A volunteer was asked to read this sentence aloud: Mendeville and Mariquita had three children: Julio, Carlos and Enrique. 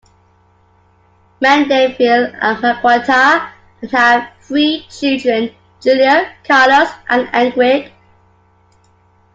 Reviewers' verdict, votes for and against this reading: rejected, 0, 2